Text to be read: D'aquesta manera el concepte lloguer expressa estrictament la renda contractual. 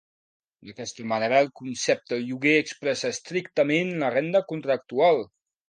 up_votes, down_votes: 2, 0